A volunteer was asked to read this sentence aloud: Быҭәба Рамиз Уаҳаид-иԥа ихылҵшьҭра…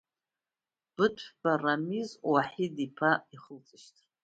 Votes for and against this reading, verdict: 1, 2, rejected